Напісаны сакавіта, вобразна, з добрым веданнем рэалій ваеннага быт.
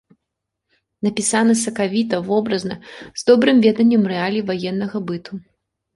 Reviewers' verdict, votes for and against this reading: rejected, 0, 2